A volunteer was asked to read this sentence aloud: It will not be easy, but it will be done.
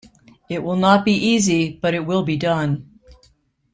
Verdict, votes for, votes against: accepted, 2, 0